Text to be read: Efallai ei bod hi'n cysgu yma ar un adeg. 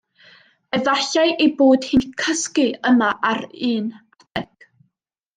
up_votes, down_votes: 1, 2